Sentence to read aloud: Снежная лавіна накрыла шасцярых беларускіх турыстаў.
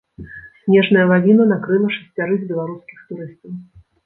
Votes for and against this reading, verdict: 1, 2, rejected